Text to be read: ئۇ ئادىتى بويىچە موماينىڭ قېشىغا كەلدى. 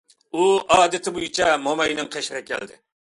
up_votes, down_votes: 2, 0